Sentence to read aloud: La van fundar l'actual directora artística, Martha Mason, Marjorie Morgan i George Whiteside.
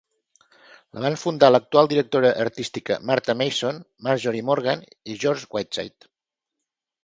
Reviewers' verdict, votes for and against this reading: accepted, 2, 0